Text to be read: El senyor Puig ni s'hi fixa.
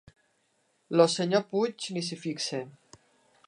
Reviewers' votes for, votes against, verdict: 1, 2, rejected